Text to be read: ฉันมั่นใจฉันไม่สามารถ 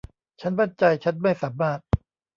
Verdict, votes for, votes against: rejected, 0, 2